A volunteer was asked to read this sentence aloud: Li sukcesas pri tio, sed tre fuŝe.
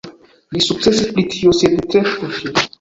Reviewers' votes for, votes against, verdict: 1, 2, rejected